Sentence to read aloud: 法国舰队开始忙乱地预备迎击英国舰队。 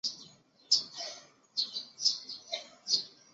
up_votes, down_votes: 0, 2